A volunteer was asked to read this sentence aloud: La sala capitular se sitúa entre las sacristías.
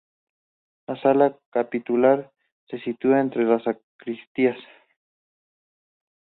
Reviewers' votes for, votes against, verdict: 2, 0, accepted